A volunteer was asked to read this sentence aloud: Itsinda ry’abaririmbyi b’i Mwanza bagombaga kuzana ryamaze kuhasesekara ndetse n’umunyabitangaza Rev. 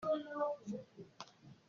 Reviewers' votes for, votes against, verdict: 0, 3, rejected